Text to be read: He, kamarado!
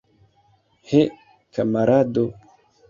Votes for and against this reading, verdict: 1, 2, rejected